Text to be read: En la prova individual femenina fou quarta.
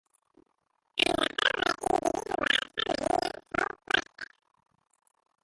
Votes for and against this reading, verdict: 0, 3, rejected